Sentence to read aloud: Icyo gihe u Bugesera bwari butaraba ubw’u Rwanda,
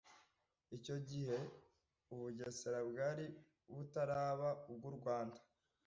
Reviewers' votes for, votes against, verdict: 2, 1, accepted